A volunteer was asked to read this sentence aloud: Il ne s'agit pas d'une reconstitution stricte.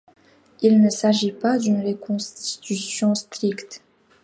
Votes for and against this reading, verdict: 2, 1, accepted